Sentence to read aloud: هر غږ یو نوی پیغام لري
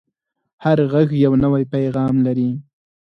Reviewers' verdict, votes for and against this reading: accepted, 4, 0